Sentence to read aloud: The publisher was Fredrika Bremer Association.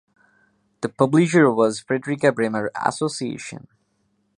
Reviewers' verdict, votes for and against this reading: accepted, 2, 1